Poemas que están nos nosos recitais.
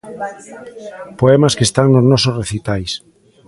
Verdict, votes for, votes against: rejected, 0, 2